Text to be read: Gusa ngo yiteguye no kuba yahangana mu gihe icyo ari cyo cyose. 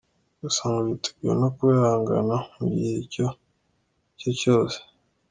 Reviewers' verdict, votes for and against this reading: accepted, 2, 0